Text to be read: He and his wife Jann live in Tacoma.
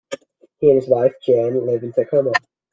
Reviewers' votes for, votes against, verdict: 0, 2, rejected